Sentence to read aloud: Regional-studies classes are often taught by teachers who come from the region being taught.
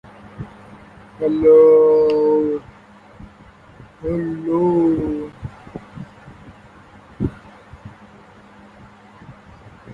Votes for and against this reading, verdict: 0, 2, rejected